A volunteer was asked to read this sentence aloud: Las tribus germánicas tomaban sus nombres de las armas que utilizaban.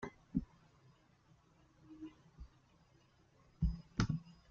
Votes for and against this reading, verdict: 0, 2, rejected